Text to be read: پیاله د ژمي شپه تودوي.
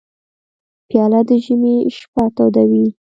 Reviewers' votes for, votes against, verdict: 2, 0, accepted